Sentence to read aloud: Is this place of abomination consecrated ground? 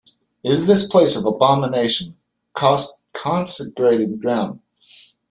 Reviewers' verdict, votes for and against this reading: rejected, 0, 2